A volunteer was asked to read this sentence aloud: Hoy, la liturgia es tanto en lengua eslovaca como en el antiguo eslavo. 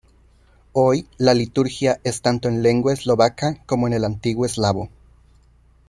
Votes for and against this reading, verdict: 2, 0, accepted